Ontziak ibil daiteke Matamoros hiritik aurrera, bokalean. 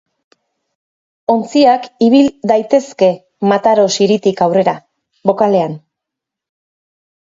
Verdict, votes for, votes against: rejected, 0, 2